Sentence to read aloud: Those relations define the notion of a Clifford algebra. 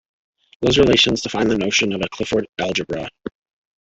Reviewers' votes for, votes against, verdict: 2, 1, accepted